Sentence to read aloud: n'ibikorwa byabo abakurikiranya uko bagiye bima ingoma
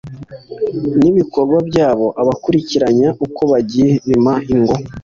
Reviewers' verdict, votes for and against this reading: accepted, 2, 0